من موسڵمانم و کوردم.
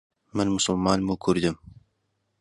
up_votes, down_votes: 2, 0